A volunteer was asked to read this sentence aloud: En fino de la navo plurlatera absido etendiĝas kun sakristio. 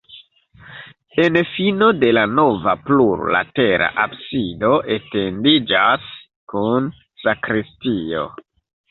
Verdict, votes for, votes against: rejected, 1, 3